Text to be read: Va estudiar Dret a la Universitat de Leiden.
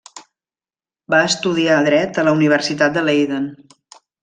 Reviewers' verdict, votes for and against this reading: accepted, 2, 0